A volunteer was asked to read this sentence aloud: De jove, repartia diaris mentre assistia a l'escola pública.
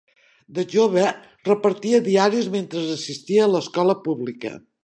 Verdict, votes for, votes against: accepted, 3, 0